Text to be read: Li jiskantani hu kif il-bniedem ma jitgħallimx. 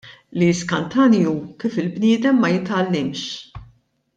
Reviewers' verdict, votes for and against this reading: accepted, 2, 0